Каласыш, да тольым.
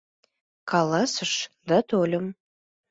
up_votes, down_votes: 2, 0